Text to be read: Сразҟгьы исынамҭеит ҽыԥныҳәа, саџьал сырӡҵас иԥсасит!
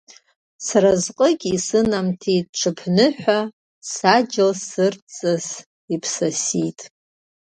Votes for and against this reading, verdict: 1, 2, rejected